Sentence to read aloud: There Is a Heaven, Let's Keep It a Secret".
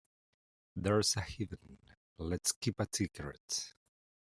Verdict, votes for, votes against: rejected, 0, 2